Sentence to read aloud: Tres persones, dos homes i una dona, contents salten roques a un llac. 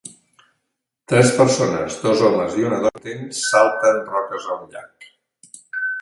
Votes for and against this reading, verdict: 1, 2, rejected